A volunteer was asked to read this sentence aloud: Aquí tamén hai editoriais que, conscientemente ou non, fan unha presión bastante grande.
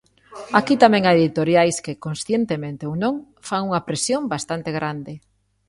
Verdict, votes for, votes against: accepted, 2, 0